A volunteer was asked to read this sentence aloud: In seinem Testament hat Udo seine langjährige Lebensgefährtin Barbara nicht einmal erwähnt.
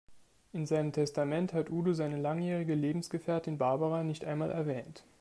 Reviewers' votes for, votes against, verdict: 2, 0, accepted